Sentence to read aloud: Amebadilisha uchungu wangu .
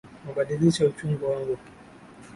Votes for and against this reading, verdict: 1, 2, rejected